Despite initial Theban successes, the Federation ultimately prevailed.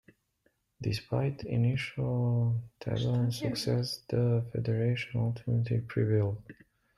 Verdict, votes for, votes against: rejected, 0, 2